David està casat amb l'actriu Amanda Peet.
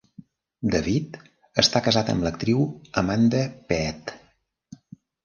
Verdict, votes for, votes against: rejected, 1, 2